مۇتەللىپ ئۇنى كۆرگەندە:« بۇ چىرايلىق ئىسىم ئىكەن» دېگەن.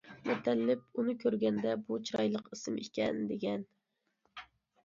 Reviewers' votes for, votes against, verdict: 2, 0, accepted